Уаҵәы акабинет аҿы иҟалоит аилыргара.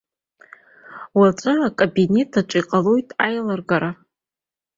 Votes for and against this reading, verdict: 2, 0, accepted